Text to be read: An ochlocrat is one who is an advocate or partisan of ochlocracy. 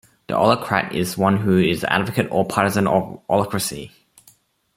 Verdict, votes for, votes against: accepted, 2, 1